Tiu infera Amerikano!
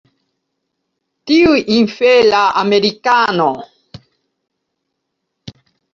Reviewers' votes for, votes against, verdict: 1, 2, rejected